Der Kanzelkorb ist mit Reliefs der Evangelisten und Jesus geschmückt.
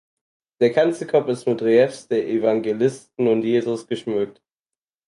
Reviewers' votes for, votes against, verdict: 4, 0, accepted